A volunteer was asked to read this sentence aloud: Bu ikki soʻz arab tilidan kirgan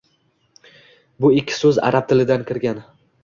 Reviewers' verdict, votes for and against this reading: accepted, 2, 0